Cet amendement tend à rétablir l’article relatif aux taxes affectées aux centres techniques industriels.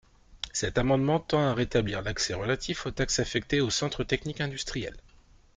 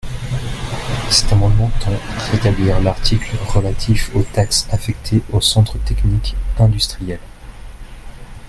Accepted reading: first